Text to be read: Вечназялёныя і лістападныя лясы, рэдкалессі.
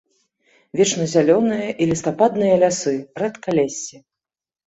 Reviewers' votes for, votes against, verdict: 2, 0, accepted